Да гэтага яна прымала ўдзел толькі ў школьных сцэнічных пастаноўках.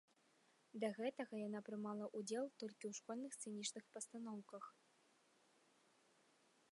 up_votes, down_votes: 1, 2